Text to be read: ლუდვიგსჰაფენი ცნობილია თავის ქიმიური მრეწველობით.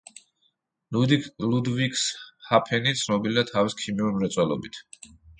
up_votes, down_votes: 1, 2